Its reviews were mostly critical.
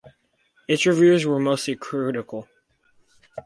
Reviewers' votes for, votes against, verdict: 4, 0, accepted